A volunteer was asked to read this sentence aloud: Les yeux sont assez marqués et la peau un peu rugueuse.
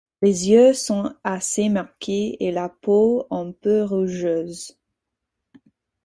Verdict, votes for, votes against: rejected, 0, 4